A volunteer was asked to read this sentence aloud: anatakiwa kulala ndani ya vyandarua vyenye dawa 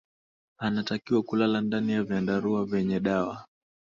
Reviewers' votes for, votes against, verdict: 2, 1, accepted